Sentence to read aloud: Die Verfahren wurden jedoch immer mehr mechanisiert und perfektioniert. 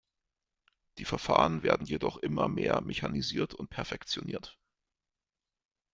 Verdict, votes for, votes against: rejected, 1, 2